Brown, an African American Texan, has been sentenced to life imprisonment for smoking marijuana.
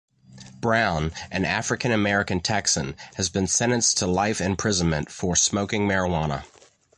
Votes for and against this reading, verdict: 2, 0, accepted